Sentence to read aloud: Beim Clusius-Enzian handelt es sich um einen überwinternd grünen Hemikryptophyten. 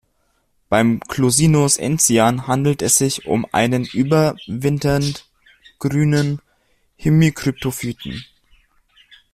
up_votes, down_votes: 0, 2